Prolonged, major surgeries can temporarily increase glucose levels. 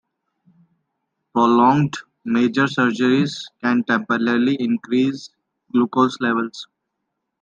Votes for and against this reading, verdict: 2, 0, accepted